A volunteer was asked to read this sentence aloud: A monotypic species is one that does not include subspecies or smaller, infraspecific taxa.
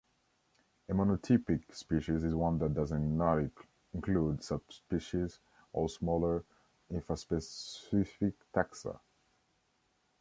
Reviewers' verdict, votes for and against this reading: rejected, 1, 2